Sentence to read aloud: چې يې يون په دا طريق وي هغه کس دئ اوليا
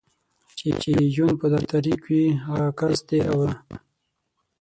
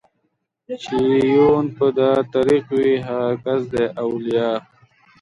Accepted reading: second